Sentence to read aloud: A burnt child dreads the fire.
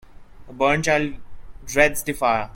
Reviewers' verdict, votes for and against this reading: rejected, 0, 2